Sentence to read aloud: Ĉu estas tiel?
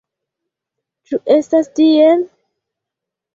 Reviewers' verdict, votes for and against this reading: accepted, 2, 0